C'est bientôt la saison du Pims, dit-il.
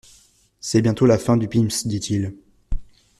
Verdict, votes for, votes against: rejected, 0, 2